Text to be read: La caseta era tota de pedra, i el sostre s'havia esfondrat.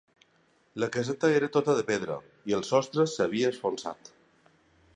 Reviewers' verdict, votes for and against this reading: rejected, 0, 3